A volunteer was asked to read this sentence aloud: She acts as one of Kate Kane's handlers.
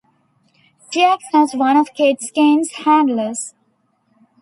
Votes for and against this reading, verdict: 2, 0, accepted